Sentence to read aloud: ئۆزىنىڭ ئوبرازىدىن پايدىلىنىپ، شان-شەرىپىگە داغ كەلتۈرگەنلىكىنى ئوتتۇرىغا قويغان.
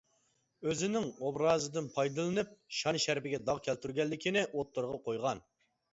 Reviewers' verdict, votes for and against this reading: accepted, 2, 0